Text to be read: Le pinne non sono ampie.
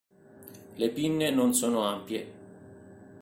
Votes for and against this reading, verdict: 2, 1, accepted